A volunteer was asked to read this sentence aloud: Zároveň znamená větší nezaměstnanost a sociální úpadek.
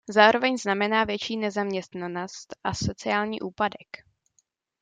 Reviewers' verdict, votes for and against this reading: accepted, 2, 0